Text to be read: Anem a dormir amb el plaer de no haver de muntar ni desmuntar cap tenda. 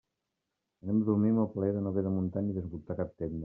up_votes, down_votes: 1, 2